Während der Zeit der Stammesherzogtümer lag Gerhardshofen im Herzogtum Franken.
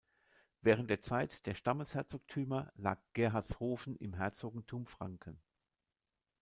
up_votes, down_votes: 1, 2